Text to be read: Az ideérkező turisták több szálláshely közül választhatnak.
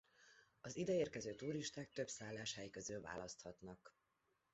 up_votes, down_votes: 2, 0